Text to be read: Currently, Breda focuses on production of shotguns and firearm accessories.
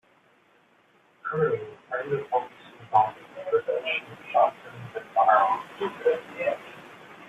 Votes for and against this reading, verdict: 0, 2, rejected